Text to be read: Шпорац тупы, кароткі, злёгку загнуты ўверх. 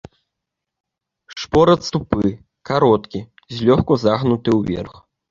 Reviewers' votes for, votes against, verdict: 1, 2, rejected